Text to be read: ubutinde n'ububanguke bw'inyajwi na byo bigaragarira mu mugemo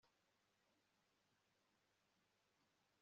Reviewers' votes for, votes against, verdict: 0, 2, rejected